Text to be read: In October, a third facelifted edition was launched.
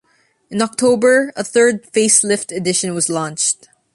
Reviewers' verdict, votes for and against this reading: accepted, 2, 0